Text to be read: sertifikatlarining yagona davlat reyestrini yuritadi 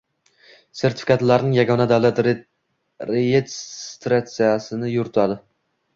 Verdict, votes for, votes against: accepted, 2, 0